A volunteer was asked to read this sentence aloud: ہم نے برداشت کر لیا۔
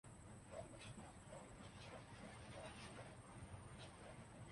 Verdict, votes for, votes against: rejected, 0, 4